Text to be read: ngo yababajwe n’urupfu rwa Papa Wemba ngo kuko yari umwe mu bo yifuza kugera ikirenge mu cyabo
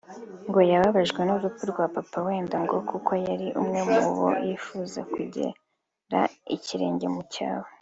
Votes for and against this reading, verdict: 3, 0, accepted